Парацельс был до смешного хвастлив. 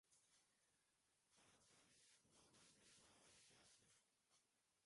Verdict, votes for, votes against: rejected, 0, 2